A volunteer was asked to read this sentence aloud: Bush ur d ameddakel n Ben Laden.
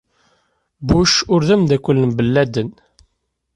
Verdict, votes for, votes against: accepted, 2, 0